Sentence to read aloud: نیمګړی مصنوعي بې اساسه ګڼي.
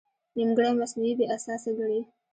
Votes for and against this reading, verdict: 2, 0, accepted